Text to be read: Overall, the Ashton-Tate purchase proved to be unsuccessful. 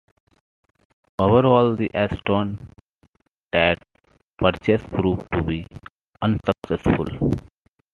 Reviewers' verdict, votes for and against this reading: accepted, 3, 2